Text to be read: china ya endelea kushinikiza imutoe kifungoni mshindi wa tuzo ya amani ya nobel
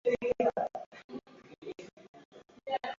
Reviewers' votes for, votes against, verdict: 0, 2, rejected